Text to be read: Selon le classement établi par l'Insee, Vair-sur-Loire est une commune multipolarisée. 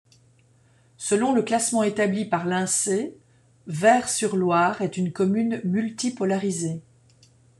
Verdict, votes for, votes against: rejected, 1, 2